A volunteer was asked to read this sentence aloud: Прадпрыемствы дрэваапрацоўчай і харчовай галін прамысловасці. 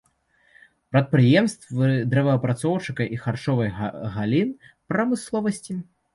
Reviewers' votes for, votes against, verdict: 0, 3, rejected